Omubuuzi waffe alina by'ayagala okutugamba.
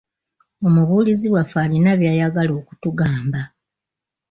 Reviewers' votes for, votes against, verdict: 2, 0, accepted